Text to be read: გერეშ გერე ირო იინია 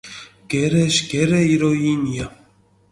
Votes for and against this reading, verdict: 2, 0, accepted